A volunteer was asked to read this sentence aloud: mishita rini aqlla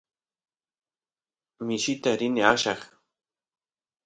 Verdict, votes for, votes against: accepted, 2, 0